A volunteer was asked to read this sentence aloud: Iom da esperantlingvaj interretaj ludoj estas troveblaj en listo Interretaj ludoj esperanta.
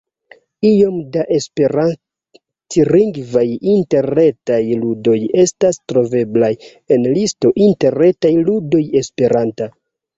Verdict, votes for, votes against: rejected, 1, 2